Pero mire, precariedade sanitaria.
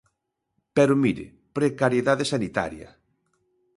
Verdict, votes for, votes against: accepted, 2, 0